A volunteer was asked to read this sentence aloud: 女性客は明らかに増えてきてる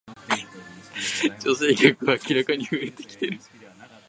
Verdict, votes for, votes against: rejected, 0, 2